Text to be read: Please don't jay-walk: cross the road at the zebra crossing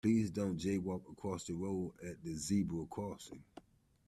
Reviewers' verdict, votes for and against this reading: accepted, 2, 1